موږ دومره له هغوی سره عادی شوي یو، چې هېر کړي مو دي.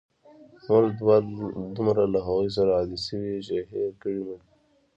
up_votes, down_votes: 2, 0